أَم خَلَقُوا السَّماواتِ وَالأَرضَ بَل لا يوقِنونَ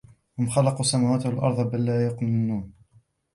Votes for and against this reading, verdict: 2, 1, accepted